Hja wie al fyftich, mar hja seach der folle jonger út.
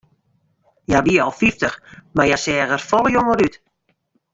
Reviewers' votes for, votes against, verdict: 0, 2, rejected